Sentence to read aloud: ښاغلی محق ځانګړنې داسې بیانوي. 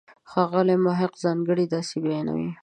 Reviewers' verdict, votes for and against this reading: rejected, 0, 2